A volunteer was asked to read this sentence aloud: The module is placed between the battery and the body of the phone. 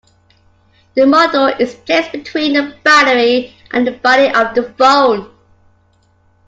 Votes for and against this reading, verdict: 2, 0, accepted